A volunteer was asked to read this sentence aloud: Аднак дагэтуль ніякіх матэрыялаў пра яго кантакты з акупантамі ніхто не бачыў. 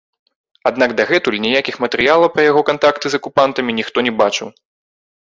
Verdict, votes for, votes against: rejected, 1, 2